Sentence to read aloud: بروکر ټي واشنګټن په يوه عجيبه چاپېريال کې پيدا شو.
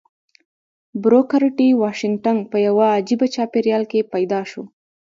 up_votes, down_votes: 2, 0